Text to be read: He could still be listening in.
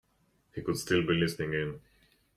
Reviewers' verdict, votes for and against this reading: accepted, 2, 0